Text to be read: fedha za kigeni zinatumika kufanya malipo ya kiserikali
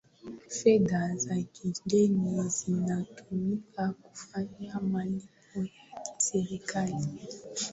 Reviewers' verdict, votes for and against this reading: accepted, 8, 2